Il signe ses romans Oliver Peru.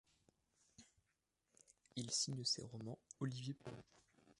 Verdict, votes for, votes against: rejected, 0, 2